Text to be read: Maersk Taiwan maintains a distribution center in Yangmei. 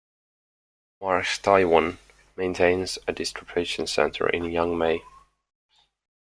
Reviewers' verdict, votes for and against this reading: accepted, 2, 0